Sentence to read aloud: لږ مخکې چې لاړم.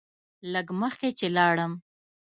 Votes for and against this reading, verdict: 2, 0, accepted